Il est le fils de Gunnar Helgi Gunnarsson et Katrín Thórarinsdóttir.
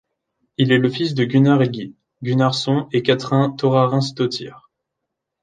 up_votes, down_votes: 0, 2